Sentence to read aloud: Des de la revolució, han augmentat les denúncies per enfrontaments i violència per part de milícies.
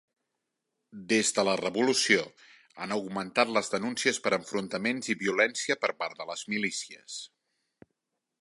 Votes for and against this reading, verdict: 0, 2, rejected